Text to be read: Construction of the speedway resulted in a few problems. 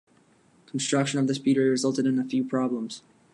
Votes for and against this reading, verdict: 2, 1, accepted